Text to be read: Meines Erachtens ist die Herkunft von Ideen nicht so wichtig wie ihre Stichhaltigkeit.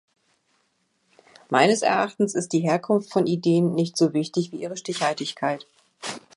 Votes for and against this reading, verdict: 2, 0, accepted